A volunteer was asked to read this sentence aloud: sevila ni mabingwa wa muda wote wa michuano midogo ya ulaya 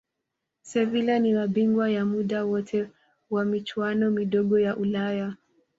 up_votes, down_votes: 2, 1